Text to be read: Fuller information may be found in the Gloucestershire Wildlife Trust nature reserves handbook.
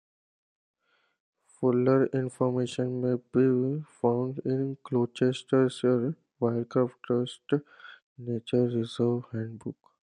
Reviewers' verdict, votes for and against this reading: rejected, 0, 2